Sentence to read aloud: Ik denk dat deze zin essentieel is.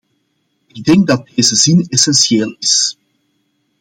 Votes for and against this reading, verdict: 2, 0, accepted